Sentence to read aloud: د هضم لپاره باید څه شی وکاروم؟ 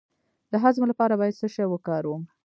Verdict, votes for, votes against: rejected, 0, 2